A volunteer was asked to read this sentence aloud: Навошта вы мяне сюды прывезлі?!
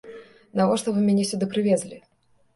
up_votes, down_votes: 2, 0